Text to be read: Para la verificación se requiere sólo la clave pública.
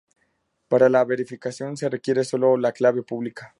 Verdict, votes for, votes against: accepted, 2, 0